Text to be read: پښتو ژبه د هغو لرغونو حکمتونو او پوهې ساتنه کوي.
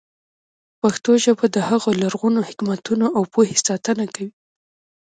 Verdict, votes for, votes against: rejected, 0, 2